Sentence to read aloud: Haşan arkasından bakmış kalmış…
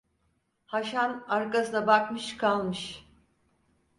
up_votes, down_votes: 2, 4